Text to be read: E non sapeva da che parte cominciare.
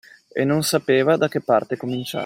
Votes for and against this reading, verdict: 0, 2, rejected